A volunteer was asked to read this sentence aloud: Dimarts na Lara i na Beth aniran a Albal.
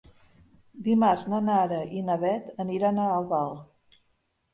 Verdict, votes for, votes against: rejected, 0, 2